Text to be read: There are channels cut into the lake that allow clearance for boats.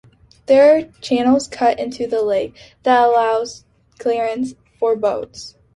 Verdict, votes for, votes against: rejected, 0, 2